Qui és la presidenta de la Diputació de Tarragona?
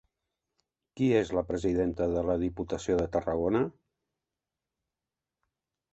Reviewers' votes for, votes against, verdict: 3, 0, accepted